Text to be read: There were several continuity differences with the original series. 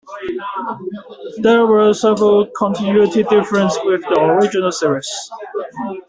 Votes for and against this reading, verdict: 0, 2, rejected